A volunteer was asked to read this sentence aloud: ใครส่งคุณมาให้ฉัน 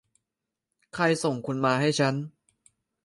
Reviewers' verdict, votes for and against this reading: rejected, 1, 2